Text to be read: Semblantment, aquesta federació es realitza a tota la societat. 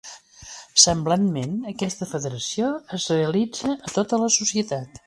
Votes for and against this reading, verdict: 2, 0, accepted